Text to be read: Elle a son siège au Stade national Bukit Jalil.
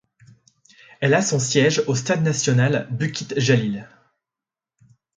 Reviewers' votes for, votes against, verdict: 2, 0, accepted